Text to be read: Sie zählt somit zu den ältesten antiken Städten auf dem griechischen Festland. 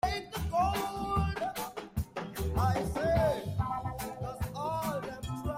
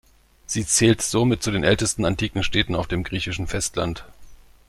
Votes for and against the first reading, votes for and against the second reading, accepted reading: 0, 2, 2, 0, second